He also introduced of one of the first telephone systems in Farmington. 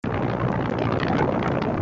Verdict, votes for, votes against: rejected, 0, 2